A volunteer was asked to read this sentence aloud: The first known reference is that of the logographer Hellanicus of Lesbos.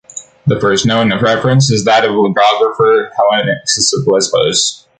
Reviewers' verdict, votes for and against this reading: rejected, 0, 2